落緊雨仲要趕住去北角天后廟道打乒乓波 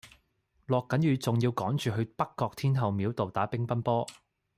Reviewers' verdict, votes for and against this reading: accepted, 2, 0